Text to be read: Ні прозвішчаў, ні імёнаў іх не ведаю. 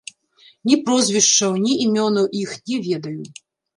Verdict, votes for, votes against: rejected, 1, 2